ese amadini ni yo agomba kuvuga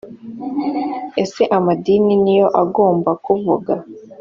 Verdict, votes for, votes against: accepted, 2, 0